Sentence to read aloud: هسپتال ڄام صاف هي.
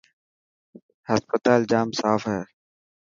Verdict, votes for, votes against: accepted, 2, 0